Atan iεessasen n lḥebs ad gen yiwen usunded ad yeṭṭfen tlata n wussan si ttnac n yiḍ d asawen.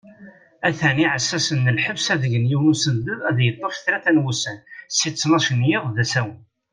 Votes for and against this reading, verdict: 2, 0, accepted